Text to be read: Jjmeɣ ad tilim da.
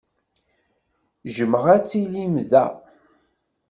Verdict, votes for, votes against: accepted, 2, 0